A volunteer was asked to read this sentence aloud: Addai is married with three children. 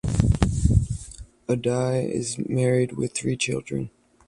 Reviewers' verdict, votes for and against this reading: accepted, 4, 0